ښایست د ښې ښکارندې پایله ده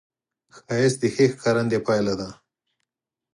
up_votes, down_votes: 4, 0